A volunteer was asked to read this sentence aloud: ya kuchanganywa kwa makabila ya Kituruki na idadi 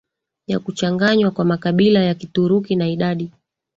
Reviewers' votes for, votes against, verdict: 3, 2, accepted